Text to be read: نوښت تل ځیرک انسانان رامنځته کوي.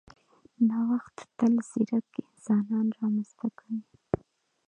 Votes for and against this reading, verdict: 0, 2, rejected